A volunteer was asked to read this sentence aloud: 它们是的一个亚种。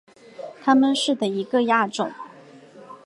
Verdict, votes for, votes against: accepted, 2, 0